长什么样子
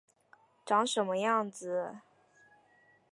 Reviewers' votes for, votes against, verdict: 2, 0, accepted